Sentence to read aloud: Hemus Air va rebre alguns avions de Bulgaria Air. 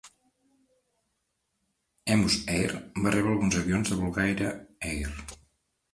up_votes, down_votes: 1, 3